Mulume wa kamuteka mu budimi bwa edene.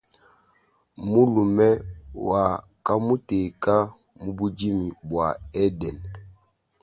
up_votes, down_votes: 2, 0